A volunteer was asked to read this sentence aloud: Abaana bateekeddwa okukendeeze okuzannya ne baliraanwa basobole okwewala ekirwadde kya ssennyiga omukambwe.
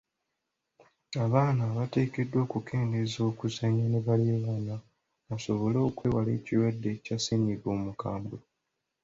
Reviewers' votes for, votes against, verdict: 2, 0, accepted